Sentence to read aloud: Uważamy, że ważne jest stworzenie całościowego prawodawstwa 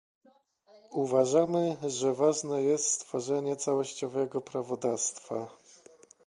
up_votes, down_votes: 2, 0